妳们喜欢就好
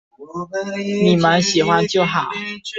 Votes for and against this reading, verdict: 0, 2, rejected